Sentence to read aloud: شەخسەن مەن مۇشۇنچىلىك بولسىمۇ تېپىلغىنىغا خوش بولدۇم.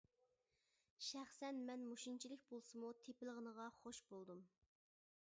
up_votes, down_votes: 2, 0